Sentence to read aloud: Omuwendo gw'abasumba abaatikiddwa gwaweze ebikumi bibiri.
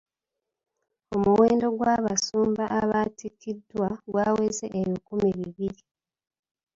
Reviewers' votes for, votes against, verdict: 2, 0, accepted